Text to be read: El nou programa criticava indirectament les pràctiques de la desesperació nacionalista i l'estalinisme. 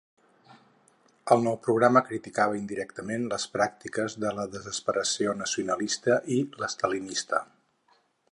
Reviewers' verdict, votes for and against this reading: rejected, 0, 4